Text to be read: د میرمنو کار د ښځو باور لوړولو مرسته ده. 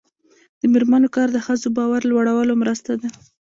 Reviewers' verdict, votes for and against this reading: accepted, 2, 1